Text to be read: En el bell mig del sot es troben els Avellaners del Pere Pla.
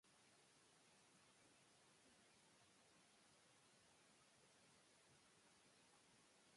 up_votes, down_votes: 0, 2